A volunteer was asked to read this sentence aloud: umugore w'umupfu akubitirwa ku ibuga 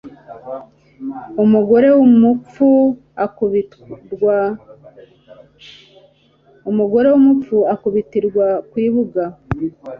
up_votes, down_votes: 1, 2